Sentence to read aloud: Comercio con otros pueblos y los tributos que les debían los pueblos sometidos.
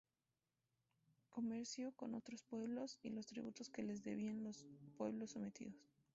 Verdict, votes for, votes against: rejected, 0, 2